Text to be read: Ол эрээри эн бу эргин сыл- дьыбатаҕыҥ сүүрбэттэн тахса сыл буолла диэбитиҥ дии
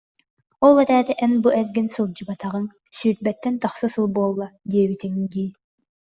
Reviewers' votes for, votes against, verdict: 2, 0, accepted